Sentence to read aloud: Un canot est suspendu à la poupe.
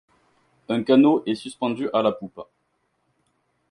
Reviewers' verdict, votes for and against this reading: accepted, 4, 0